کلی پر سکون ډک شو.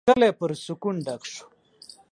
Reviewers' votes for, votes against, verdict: 4, 0, accepted